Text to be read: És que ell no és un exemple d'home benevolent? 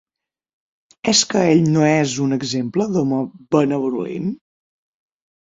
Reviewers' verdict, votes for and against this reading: rejected, 0, 6